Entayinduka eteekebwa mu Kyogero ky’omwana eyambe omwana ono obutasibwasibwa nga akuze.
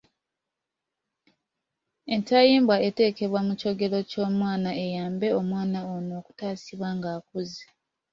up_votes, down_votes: 0, 2